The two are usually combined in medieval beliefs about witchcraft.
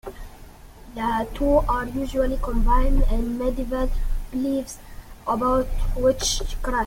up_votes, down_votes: 2, 0